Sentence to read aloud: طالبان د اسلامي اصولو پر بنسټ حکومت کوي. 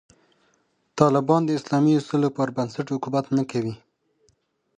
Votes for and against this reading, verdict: 0, 2, rejected